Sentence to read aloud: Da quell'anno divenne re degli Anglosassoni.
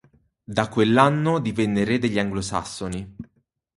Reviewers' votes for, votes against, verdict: 4, 0, accepted